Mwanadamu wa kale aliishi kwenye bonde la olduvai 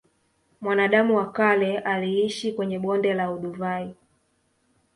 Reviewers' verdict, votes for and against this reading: accepted, 2, 0